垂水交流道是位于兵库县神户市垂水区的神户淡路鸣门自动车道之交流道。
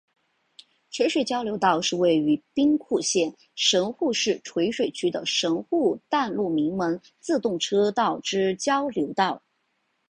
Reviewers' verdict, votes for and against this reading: accepted, 5, 0